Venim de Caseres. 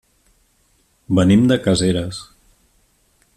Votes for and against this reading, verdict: 4, 0, accepted